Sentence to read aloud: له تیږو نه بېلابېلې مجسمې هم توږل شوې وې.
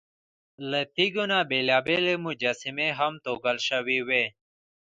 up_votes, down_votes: 1, 2